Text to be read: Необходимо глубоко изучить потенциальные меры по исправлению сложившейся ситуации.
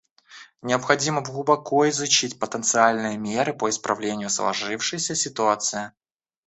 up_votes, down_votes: 2, 1